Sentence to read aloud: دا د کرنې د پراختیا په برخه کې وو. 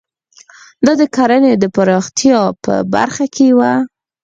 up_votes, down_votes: 6, 0